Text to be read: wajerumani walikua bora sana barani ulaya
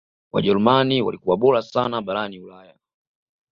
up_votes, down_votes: 2, 1